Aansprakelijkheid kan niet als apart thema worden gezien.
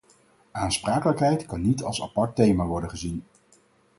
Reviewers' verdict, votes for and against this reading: accepted, 4, 0